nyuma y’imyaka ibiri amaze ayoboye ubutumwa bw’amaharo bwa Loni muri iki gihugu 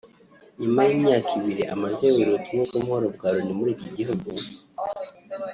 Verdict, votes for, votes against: accepted, 2, 1